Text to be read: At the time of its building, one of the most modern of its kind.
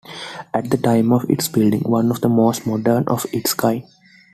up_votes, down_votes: 2, 1